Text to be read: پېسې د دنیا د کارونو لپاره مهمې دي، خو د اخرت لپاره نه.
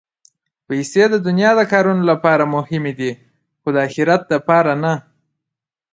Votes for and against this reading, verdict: 2, 0, accepted